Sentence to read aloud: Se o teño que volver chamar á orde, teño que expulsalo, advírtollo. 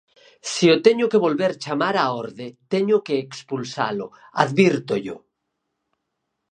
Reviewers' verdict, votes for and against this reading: accepted, 4, 0